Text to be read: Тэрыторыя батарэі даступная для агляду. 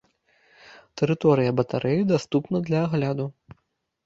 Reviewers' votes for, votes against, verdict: 0, 2, rejected